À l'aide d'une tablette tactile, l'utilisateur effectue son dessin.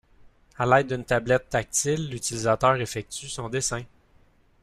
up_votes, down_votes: 2, 0